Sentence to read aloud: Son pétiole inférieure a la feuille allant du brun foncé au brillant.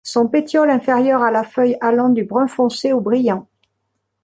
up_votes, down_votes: 2, 0